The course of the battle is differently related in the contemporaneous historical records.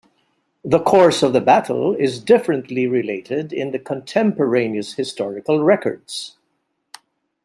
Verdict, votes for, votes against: accepted, 2, 0